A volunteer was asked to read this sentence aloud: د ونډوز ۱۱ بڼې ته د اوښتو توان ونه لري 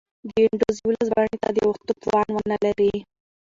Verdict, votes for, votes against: rejected, 0, 2